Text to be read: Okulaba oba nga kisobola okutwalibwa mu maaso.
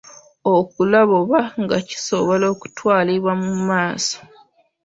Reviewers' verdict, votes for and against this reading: accepted, 2, 0